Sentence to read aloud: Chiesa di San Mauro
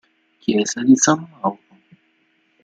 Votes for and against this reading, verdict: 0, 2, rejected